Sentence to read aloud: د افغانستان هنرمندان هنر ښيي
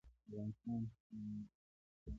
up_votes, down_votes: 0, 2